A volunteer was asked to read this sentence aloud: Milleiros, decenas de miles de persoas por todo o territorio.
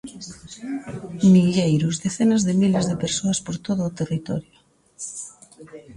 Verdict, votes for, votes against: accepted, 2, 0